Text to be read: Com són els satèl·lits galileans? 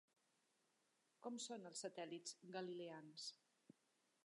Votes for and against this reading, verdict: 3, 0, accepted